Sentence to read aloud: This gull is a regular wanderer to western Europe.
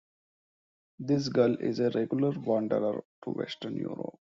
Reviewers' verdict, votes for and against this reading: accepted, 2, 0